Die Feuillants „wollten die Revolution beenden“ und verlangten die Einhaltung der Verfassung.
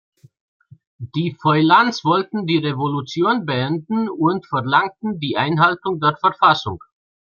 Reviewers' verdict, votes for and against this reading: accepted, 2, 0